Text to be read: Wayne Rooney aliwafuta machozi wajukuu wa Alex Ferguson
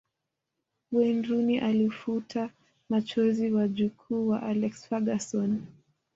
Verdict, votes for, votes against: rejected, 1, 2